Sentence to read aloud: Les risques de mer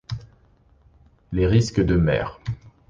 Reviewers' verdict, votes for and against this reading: accepted, 2, 0